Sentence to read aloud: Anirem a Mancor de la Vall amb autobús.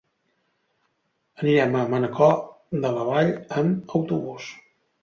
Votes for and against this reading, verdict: 1, 2, rejected